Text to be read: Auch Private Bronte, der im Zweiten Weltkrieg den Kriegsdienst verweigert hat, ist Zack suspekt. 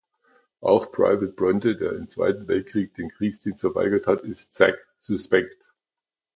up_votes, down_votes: 2, 0